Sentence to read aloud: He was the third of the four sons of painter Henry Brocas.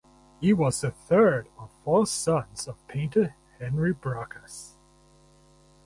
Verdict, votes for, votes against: rejected, 2, 2